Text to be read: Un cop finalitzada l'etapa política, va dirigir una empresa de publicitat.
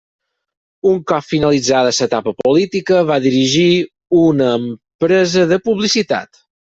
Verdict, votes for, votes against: rejected, 0, 4